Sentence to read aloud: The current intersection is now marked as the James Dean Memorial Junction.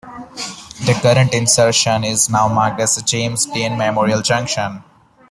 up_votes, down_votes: 0, 2